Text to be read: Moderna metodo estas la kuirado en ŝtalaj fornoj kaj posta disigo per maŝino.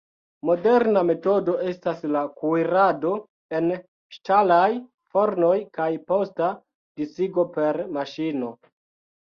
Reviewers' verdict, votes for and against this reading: rejected, 1, 2